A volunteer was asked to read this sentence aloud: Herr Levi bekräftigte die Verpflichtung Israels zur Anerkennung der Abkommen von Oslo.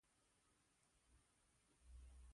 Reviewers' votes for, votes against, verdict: 0, 2, rejected